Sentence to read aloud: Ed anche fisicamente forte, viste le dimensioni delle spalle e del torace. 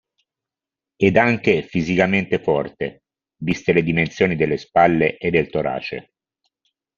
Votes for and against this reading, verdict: 2, 0, accepted